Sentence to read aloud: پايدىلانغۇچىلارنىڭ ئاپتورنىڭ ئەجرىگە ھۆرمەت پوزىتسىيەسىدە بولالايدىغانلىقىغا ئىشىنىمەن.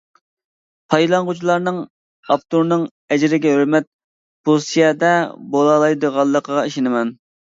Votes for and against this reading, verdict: 0, 2, rejected